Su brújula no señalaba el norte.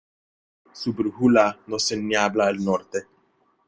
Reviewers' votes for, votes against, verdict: 0, 2, rejected